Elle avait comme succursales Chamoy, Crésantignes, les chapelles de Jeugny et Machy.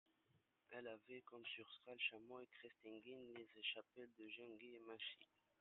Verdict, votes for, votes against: rejected, 1, 2